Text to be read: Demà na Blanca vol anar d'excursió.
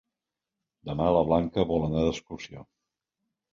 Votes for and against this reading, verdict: 0, 2, rejected